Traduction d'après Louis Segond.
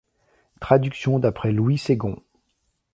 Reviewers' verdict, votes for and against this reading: rejected, 1, 2